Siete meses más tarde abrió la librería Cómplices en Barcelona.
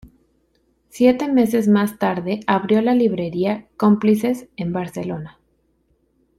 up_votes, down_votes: 2, 0